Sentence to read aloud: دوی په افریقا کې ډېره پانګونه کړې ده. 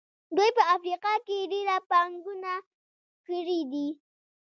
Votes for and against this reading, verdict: 0, 2, rejected